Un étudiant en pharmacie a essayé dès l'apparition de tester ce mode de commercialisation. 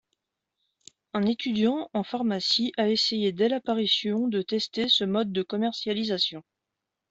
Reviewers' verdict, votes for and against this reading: accepted, 2, 0